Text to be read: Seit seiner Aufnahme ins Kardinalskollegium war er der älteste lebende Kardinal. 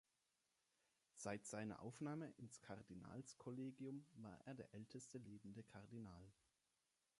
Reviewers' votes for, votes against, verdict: 2, 0, accepted